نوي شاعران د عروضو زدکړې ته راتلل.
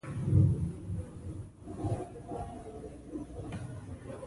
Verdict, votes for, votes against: rejected, 1, 2